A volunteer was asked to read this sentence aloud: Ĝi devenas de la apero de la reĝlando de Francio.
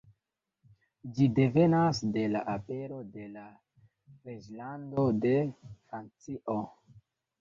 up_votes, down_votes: 0, 2